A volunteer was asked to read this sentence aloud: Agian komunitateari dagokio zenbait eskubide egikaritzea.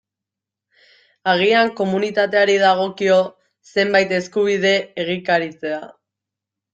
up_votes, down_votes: 2, 0